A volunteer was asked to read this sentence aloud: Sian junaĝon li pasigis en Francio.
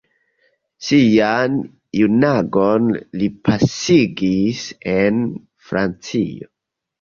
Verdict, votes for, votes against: accepted, 2, 0